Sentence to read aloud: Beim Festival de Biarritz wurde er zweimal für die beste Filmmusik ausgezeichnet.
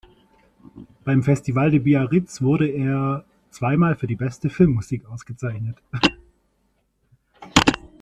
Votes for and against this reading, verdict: 1, 2, rejected